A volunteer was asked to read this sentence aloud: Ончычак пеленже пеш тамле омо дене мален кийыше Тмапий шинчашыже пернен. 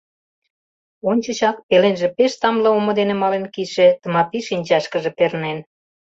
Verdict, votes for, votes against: rejected, 1, 2